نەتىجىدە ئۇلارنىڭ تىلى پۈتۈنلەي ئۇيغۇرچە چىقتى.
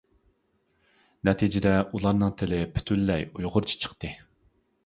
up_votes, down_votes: 2, 0